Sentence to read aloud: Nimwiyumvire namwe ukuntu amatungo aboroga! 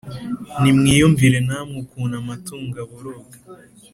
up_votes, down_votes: 2, 0